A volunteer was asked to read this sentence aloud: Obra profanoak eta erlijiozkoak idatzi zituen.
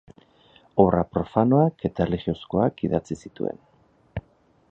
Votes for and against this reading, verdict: 6, 0, accepted